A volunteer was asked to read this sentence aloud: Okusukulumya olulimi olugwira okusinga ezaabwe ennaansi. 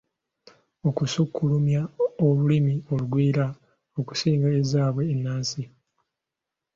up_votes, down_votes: 2, 0